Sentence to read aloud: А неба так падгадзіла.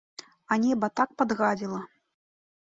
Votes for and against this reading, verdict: 2, 0, accepted